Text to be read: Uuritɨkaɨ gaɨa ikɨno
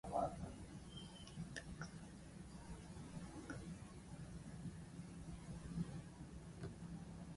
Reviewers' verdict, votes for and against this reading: rejected, 0, 2